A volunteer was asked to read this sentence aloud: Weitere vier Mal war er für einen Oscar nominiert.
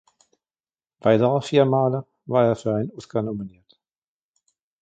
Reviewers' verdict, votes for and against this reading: rejected, 0, 2